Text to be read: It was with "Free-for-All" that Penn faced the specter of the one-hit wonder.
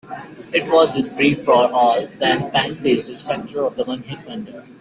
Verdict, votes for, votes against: accepted, 2, 1